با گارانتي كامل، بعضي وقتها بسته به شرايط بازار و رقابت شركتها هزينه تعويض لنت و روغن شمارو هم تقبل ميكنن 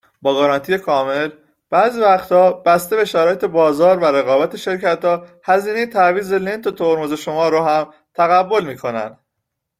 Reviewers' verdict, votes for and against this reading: rejected, 0, 2